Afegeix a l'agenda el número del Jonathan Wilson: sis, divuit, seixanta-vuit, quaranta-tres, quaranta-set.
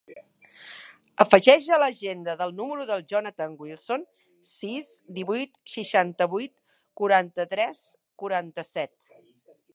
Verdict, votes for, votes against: rejected, 0, 2